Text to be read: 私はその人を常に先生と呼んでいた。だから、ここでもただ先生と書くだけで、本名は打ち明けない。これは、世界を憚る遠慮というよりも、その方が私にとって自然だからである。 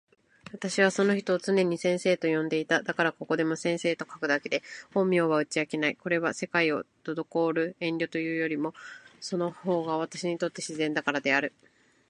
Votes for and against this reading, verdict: 3, 1, accepted